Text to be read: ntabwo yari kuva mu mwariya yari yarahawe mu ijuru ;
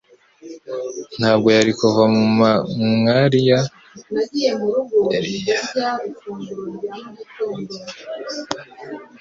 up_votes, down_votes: 1, 2